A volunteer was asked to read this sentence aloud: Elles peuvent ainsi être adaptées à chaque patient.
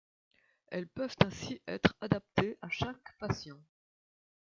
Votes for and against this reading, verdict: 2, 1, accepted